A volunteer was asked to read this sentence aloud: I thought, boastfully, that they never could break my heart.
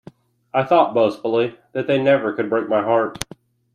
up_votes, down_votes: 2, 0